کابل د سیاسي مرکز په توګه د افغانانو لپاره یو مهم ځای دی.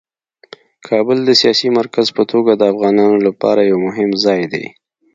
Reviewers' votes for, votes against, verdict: 2, 0, accepted